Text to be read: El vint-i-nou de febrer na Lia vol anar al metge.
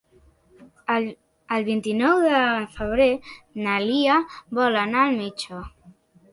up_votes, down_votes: 3, 1